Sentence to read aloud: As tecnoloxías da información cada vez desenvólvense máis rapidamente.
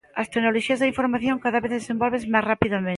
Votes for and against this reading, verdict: 0, 2, rejected